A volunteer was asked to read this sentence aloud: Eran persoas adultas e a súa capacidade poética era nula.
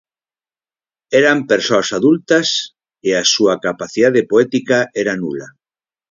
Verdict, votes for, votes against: accepted, 4, 0